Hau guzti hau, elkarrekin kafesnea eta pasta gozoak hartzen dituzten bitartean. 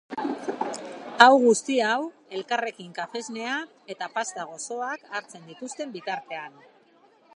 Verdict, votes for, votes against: accepted, 2, 0